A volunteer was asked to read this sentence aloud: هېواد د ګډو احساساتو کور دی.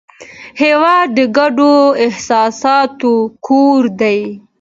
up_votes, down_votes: 2, 1